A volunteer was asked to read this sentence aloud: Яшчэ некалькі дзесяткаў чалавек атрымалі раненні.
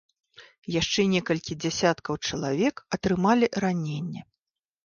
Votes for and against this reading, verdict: 2, 0, accepted